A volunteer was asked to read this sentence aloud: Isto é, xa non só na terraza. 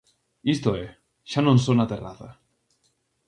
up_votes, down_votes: 2, 0